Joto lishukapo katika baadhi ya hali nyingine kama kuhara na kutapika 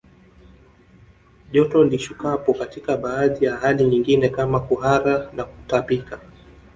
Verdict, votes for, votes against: accepted, 2, 0